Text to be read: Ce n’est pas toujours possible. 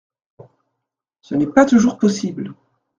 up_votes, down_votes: 2, 0